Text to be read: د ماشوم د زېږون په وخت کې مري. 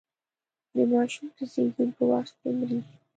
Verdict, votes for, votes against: rejected, 0, 2